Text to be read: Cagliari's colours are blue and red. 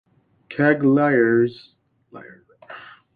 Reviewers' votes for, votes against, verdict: 0, 2, rejected